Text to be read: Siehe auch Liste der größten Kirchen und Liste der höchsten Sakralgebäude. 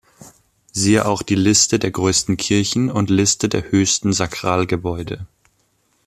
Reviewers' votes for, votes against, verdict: 1, 2, rejected